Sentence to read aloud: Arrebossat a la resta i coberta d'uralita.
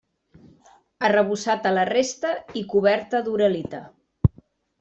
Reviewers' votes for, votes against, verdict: 2, 0, accepted